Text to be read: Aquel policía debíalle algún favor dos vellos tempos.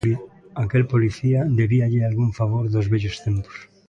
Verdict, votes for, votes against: accepted, 2, 1